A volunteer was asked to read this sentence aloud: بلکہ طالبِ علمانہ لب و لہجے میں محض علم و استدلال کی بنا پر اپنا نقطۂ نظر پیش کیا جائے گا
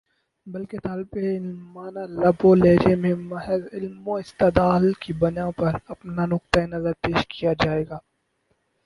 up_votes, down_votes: 4, 0